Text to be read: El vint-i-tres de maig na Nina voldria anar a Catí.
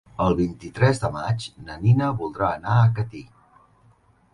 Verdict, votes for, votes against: rejected, 1, 2